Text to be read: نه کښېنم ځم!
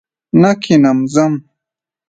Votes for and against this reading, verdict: 2, 0, accepted